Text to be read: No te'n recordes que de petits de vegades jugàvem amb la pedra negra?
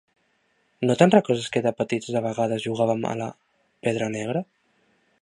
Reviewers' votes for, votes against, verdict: 1, 2, rejected